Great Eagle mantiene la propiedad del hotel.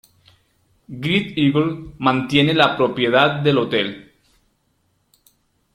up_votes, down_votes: 2, 0